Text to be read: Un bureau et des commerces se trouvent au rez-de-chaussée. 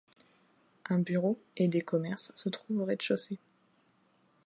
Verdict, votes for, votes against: accepted, 2, 0